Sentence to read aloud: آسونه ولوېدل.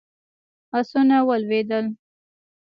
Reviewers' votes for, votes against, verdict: 0, 2, rejected